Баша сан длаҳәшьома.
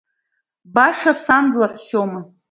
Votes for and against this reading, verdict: 2, 0, accepted